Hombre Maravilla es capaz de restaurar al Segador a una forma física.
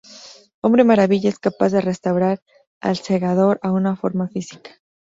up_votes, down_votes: 2, 0